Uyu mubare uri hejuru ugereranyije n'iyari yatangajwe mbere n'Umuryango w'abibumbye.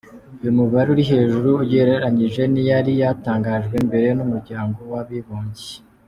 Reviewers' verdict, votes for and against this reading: rejected, 0, 2